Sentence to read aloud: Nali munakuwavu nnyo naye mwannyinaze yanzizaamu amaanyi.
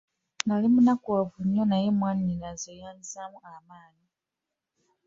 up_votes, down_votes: 2, 0